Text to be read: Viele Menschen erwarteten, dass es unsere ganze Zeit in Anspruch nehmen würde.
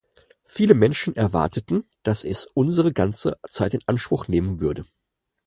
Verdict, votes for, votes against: accepted, 4, 0